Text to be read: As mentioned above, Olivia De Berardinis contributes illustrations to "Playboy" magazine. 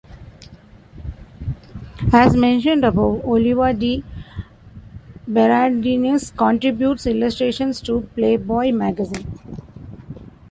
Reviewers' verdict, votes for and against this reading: rejected, 0, 2